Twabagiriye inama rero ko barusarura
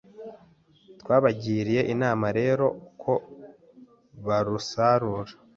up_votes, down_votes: 2, 0